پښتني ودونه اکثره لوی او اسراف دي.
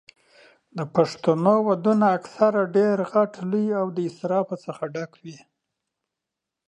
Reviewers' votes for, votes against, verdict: 1, 2, rejected